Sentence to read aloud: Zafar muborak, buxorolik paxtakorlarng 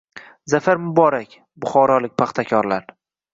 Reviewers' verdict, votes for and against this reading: accepted, 2, 1